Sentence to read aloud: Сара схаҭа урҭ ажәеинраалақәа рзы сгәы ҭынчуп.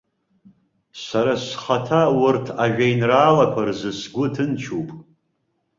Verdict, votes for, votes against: rejected, 0, 3